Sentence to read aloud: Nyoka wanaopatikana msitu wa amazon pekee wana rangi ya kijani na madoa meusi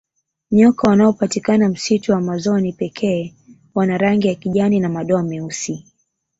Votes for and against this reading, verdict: 1, 2, rejected